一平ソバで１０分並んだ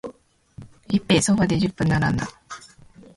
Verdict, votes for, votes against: rejected, 0, 2